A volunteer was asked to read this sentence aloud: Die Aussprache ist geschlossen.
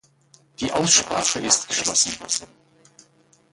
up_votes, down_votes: 1, 2